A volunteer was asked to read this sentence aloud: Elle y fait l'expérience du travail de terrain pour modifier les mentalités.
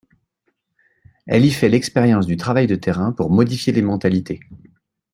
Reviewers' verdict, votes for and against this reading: accepted, 2, 0